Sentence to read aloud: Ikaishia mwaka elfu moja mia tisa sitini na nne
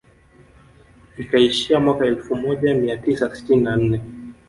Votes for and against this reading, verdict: 2, 0, accepted